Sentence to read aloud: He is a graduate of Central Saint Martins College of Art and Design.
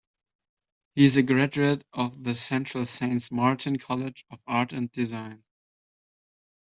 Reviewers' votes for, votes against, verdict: 0, 2, rejected